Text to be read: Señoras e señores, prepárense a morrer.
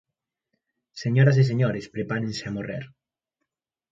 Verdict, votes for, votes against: accepted, 2, 0